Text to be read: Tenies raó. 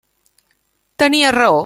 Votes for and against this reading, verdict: 2, 0, accepted